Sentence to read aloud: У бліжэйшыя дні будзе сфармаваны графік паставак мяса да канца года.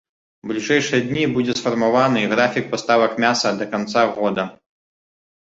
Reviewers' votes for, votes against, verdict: 2, 0, accepted